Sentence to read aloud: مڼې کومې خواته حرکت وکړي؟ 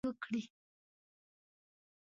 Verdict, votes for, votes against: rejected, 0, 2